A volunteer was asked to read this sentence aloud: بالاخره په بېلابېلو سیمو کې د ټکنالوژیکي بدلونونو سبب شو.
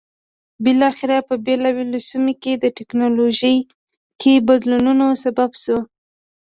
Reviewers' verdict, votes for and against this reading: rejected, 0, 2